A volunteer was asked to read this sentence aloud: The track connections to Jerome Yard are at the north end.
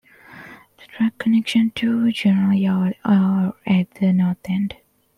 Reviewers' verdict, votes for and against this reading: rejected, 0, 2